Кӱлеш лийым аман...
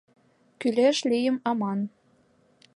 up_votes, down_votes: 2, 0